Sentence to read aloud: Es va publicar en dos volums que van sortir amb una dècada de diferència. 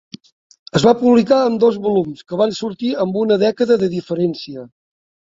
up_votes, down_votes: 4, 0